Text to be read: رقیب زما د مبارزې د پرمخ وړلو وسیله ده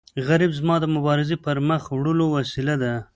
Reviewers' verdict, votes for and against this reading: rejected, 0, 2